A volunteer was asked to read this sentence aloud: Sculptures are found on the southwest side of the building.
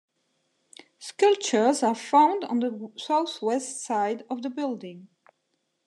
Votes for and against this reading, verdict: 2, 1, accepted